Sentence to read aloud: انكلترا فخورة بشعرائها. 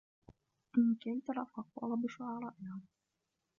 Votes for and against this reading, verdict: 0, 2, rejected